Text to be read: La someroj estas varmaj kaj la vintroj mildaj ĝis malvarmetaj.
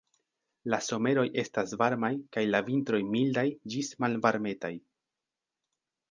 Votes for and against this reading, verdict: 3, 0, accepted